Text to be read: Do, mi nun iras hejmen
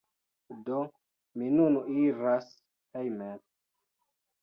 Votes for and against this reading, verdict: 2, 0, accepted